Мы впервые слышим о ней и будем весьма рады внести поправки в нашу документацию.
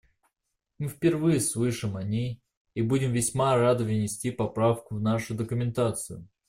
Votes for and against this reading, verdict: 1, 2, rejected